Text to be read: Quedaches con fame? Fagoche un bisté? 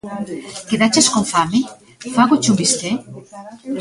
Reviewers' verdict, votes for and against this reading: rejected, 0, 2